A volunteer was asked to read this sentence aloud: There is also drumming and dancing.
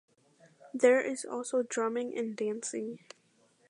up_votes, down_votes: 2, 0